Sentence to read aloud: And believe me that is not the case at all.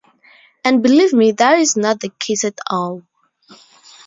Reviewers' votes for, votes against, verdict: 2, 0, accepted